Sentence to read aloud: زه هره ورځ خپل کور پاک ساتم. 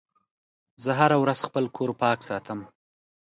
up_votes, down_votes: 5, 0